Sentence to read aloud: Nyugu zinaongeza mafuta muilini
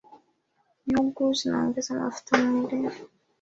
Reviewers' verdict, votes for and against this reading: accepted, 2, 1